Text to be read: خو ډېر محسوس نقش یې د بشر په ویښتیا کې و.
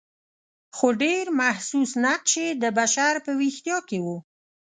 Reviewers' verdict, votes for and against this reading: accepted, 4, 0